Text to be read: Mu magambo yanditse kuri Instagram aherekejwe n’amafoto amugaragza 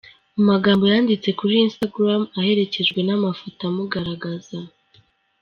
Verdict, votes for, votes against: accepted, 2, 0